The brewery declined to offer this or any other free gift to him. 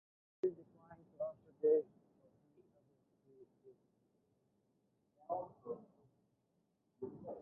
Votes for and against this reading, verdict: 0, 2, rejected